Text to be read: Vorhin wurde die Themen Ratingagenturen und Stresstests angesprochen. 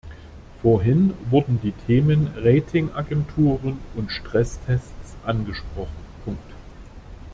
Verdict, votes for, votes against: rejected, 0, 2